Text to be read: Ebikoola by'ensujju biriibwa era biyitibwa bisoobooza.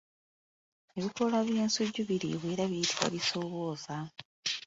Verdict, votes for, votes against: rejected, 1, 2